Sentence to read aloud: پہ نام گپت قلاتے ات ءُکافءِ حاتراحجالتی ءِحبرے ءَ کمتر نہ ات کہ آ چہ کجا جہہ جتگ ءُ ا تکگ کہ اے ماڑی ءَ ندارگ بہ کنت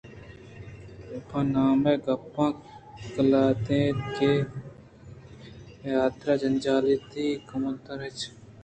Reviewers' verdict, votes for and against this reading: rejected, 0, 2